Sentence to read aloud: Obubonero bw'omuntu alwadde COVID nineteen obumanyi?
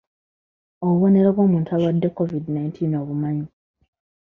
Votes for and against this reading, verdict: 2, 0, accepted